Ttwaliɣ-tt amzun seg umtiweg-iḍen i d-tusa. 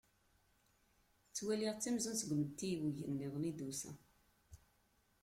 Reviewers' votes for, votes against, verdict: 0, 2, rejected